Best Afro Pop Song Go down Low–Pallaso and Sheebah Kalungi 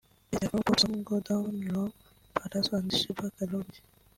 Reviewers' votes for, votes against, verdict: 0, 2, rejected